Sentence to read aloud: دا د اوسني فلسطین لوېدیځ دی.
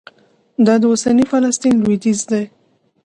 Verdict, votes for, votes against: accepted, 2, 0